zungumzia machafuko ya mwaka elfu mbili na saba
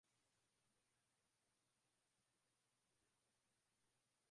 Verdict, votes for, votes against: rejected, 0, 2